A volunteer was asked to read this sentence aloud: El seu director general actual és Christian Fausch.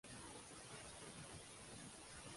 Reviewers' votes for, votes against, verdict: 0, 2, rejected